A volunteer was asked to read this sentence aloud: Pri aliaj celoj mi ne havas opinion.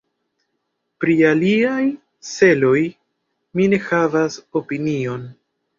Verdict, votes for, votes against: rejected, 2, 3